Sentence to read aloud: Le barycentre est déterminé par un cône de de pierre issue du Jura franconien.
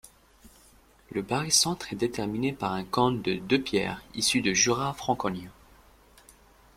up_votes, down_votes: 1, 2